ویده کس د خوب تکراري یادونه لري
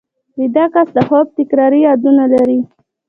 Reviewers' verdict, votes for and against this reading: accepted, 2, 1